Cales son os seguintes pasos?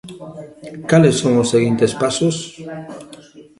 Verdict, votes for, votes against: accepted, 2, 1